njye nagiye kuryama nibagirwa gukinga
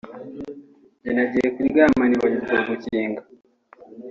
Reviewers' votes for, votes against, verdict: 2, 0, accepted